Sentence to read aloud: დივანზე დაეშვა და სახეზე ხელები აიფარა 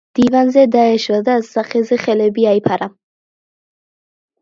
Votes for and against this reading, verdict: 2, 0, accepted